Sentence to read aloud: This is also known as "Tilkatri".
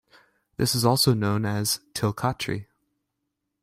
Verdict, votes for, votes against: accepted, 2, 0